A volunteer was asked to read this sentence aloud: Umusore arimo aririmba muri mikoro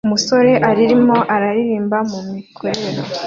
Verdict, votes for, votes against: rejected, 0, 2